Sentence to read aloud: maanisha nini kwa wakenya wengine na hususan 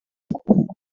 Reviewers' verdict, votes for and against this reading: rejected, 0, 2